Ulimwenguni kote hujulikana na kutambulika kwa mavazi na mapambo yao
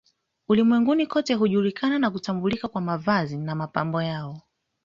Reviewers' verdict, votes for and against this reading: accepted, 2, 0